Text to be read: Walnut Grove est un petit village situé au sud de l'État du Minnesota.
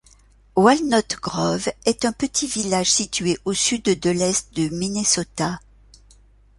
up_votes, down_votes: 0, 2